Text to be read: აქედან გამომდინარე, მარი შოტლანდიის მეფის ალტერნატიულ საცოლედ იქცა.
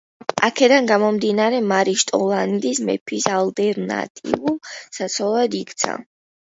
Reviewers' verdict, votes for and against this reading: accepted, 2, 0